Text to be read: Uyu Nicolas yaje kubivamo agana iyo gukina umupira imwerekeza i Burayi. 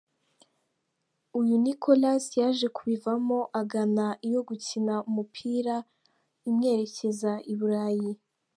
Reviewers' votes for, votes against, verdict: 2, 0, accepted